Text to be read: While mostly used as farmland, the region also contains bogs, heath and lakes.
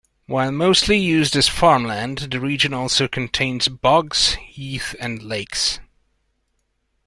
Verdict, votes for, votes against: accepted, 2, 0